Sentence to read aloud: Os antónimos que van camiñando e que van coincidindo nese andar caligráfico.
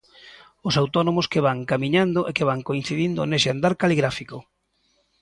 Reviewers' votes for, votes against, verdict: 0, 3, rejected